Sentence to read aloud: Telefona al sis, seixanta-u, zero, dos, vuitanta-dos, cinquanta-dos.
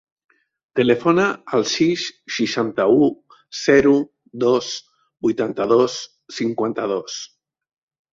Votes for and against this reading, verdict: 5, 0, accepted